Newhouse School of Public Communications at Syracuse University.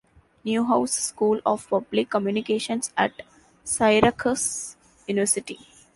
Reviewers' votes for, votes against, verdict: 2, 0, accepted